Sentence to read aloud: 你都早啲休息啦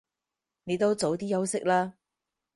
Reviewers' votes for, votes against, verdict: 4, 0, accepted